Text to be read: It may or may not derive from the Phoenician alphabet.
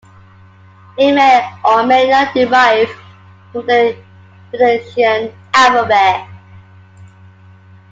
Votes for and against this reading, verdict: 2, 0, accepted